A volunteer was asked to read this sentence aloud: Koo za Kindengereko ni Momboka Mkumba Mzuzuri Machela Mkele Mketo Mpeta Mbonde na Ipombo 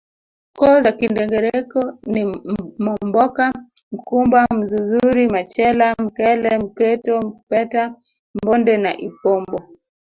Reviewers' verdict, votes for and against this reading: rejected, 0, 2